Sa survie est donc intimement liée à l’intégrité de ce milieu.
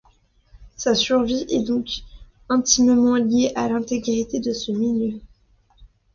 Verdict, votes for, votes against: accepted, 2, 0